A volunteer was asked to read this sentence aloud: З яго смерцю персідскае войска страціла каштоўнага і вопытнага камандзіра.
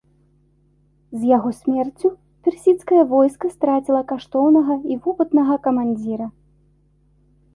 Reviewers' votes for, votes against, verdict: 2, 0, accepted